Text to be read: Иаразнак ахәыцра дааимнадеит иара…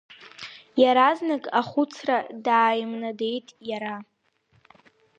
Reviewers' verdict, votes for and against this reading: accepted, 4, 0